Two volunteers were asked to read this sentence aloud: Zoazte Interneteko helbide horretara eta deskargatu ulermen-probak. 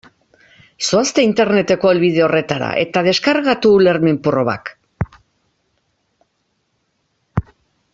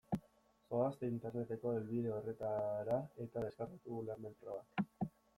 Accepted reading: first